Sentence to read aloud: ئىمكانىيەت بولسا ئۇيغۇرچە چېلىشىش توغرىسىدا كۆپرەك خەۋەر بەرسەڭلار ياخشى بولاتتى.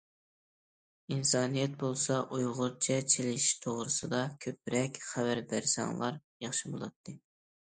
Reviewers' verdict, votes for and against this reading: rejected, 0, 2